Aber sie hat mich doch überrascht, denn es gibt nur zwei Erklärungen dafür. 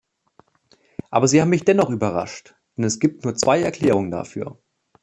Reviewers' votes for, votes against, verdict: 1, 2, rejected